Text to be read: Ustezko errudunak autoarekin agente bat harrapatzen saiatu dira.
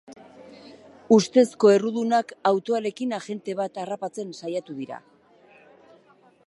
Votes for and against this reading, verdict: 3, 0, accepted